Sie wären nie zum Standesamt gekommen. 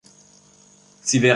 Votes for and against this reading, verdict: 0, 2, rejected